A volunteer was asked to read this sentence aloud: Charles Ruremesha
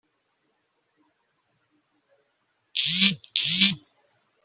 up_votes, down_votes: 0, 4